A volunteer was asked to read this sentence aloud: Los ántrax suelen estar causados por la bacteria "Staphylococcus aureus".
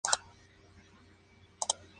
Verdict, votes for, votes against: rejected, 0, 2